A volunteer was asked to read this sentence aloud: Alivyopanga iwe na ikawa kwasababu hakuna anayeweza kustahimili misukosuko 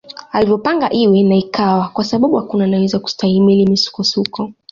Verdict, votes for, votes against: accepted, 2, 0